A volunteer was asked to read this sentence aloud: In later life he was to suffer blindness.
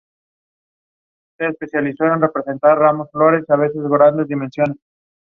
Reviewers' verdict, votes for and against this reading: accepted, 2, 1